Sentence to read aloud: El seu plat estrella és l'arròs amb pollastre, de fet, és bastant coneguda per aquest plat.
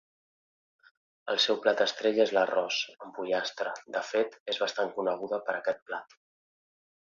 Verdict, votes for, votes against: accepted, 2, 0